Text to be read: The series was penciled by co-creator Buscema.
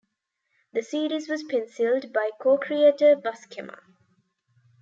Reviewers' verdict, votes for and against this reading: accepted, 2, 0